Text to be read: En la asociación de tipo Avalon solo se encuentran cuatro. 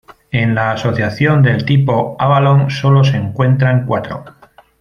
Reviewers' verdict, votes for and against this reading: rejected, 0, 2